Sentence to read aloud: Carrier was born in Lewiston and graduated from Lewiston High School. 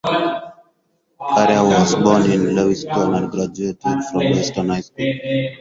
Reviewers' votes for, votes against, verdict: 0, 2, rejected